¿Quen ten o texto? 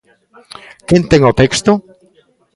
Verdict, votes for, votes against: rejected, 1, 2